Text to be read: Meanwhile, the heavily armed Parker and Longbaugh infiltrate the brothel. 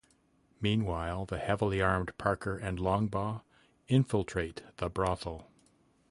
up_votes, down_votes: 2, 1